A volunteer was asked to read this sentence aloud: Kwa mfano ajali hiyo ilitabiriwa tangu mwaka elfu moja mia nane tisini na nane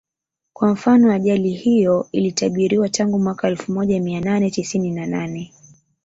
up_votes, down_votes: 0, 2